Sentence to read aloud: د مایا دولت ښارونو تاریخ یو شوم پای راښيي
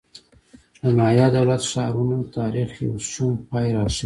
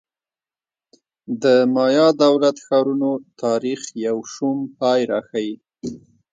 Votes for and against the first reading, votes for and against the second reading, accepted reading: 0, 2, 2, 0, second